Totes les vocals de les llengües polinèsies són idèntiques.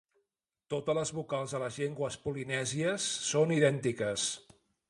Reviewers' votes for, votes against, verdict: 1, 2, rejected